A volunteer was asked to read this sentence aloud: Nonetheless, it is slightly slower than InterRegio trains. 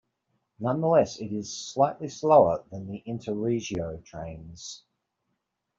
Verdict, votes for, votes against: accepted, 2, 1